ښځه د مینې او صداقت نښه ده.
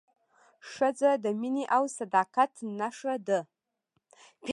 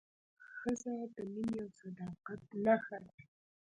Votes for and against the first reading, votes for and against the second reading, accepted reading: 2, 0, 1, 2, first